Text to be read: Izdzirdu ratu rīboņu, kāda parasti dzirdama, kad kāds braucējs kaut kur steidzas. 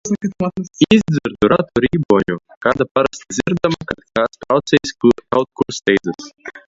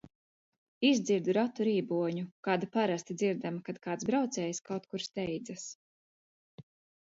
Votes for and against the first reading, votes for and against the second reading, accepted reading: 0, 2, 2, 0, second